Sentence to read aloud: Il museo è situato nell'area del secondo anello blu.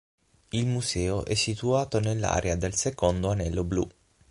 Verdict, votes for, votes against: accepted, 6, 0